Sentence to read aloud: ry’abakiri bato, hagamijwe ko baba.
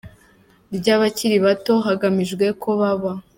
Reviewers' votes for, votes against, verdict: 2, 0, accepted